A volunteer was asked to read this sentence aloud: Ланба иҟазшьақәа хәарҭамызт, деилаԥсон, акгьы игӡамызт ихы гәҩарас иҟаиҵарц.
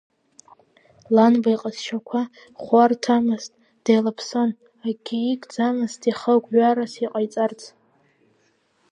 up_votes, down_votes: 2, 1